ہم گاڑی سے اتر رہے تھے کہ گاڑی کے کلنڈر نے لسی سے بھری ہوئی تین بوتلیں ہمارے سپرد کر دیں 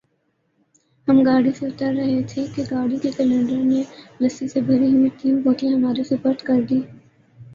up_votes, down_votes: 4, 0